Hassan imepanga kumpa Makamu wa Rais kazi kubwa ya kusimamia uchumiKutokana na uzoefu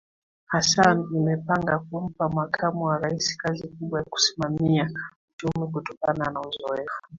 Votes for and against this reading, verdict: 3, 1, accepted